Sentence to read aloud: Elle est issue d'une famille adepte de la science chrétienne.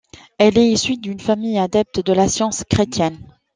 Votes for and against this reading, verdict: 2, 0, accepted